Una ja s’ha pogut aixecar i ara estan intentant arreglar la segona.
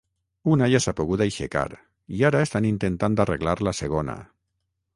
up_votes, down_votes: 3, 6